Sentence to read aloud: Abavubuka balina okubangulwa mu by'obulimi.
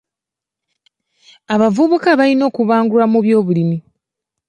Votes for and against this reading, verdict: 2, 0, accepted